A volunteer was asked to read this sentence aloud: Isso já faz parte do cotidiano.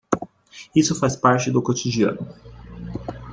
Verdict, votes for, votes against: rejected, 0, 2